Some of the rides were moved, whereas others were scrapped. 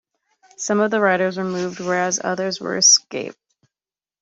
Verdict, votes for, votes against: rejected, 1, 2